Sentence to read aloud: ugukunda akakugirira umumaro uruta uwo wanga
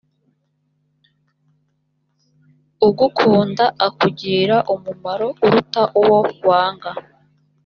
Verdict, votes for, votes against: accepted, 2, 0